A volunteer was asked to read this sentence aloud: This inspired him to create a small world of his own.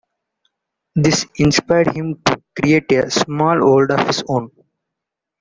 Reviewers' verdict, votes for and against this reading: rejected, 0, 2